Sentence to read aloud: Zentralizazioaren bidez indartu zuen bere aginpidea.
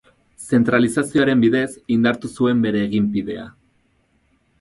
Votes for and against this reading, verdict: 0, 4, rejected